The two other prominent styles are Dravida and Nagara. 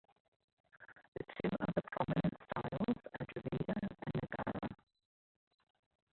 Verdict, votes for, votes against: rejected, 1, 2